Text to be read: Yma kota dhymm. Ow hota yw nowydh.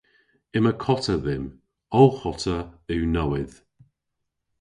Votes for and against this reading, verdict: 2, 0, accepted